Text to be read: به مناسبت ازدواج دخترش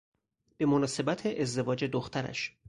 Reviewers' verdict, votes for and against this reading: accepted, 4, 0